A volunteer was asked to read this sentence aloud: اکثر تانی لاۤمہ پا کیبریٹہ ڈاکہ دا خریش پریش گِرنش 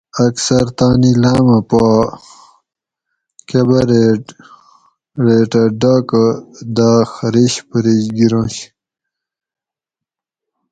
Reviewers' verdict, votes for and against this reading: rejected, 2, 4